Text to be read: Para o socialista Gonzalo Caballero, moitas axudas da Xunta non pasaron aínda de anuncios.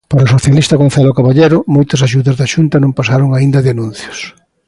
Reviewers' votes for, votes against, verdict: 2, 0, accepted